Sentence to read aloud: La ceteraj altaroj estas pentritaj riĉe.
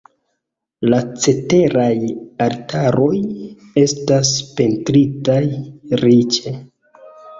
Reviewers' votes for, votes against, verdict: 2, 0, accepted